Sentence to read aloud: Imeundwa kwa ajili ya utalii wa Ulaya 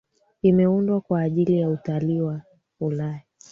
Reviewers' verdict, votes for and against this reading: accepted, 2, 0